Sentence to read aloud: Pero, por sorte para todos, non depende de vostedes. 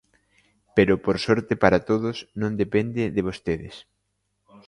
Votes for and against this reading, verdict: 2, 0, accepted